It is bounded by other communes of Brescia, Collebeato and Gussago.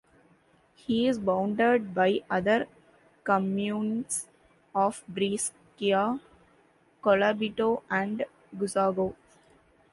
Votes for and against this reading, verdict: 1, 2, rejected